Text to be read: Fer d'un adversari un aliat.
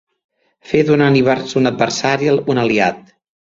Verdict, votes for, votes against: rejected, 0, 2